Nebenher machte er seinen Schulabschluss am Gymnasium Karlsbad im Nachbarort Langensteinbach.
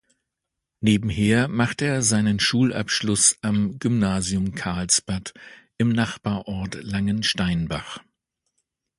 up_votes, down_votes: 2, 0